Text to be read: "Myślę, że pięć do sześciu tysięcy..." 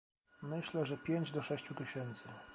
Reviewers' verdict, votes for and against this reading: rejected, 1, 2